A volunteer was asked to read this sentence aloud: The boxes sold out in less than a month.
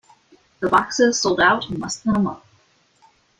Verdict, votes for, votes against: accepted, 2, 0